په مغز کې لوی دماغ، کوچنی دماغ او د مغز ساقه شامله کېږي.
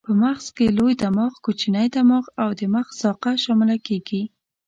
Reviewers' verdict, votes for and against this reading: accepted, 2, 0